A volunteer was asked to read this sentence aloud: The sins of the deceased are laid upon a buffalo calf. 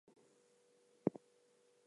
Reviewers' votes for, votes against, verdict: 0, 2, rejected